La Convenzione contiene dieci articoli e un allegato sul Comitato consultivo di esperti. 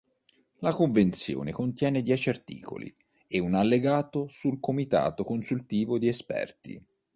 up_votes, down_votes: 2, 0